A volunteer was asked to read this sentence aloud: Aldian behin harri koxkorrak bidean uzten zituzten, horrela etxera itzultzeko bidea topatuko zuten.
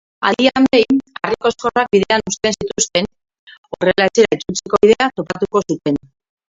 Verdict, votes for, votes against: rejected, 0, 2